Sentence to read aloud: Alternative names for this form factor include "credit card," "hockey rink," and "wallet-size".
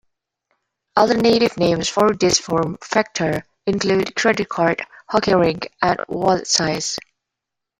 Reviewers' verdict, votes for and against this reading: accepted, 2, 0